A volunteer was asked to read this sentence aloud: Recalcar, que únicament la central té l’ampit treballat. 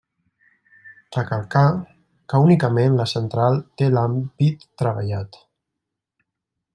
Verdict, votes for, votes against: rejected, 1, 2